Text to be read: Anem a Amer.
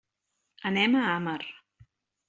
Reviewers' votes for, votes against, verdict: 0, 2, rejected